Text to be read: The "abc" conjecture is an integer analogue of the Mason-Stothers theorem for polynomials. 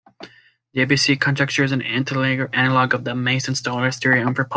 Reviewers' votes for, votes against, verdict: 0, 2, rejected